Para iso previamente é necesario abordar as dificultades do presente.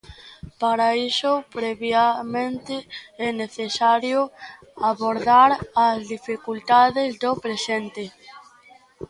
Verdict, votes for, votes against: rejected, 1, 2